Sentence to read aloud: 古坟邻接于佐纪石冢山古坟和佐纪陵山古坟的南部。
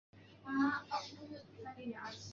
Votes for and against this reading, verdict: 1, 2, rejected